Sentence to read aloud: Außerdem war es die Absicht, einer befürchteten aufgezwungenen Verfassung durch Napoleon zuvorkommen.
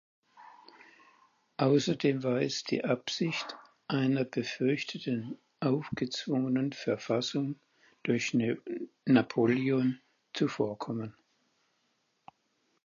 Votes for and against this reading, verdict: 0, 4, rejected